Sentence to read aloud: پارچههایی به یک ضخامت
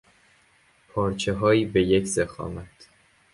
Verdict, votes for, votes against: accepted, 2, 0